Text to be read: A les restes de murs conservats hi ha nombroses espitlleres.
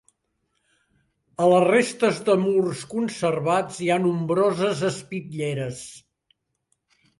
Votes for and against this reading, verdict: 4, 0, accepted